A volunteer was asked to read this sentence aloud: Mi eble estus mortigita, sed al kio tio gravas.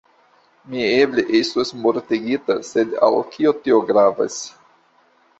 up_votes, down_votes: 2, 0